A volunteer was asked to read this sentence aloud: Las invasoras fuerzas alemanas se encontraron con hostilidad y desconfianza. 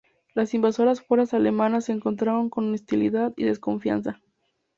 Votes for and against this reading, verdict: 4, 0, accepted